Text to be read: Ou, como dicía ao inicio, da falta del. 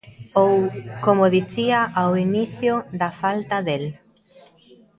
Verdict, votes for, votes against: accepted, 2, 0